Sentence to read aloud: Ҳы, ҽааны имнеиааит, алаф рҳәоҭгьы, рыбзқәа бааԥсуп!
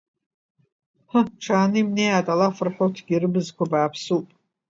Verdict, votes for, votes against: accepted, 2, 1